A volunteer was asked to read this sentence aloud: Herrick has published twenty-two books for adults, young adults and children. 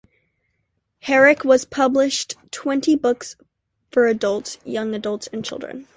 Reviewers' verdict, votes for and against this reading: rejected, 0, 2